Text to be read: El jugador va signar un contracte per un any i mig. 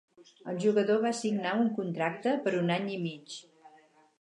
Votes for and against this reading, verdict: 6, 0, accepted